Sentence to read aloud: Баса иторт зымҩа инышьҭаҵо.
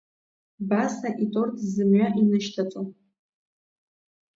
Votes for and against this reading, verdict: 0, 2, rejected